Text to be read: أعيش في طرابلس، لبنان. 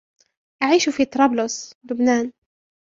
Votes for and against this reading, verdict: 2, 1, accepted